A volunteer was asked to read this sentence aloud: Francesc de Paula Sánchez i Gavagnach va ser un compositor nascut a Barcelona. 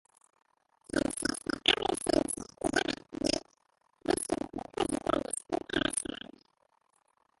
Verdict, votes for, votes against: rejected, 0, 2